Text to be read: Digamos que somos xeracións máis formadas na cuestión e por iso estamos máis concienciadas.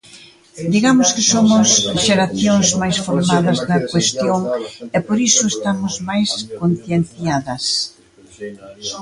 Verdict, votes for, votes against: rejected, 0, 2